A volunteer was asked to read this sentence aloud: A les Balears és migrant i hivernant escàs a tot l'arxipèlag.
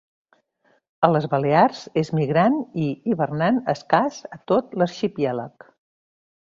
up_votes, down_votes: 0, 2